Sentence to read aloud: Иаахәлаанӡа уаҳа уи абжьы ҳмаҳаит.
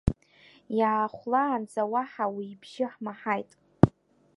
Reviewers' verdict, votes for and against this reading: accepted, 2, 0